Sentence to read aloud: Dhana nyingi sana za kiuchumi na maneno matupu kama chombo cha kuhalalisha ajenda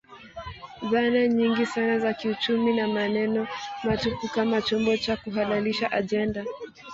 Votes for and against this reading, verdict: 1, 2, rejected